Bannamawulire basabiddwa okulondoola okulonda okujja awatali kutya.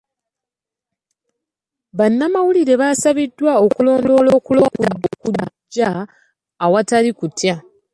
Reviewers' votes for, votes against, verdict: 0, 2, rejected